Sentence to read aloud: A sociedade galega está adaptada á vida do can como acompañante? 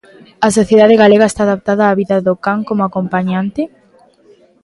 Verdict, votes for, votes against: accepted, 2, 0